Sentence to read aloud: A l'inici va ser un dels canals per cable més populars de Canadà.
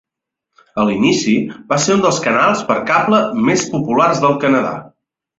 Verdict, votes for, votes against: rejected, 0, 2